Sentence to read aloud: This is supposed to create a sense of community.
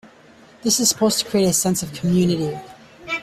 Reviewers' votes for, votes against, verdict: 2, 1, accepted